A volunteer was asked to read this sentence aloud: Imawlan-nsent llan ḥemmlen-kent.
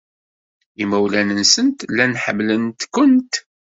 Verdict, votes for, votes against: accepted, 2, 1